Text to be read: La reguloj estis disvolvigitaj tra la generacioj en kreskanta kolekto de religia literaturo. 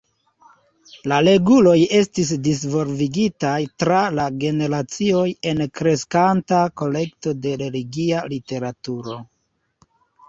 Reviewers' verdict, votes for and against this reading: accepted, 2, 0